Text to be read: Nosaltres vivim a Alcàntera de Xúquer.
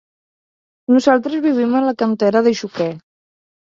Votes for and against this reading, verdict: 2, 3, rejected